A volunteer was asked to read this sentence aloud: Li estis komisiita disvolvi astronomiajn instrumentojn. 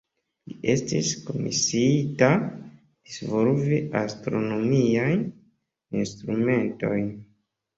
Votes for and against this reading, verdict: 1, 2, rejected